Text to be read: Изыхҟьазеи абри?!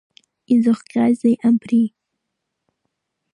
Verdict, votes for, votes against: accepted, 2, 1